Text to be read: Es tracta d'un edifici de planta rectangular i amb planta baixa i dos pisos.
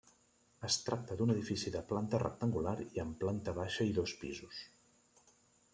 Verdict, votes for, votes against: rejected, 1, 2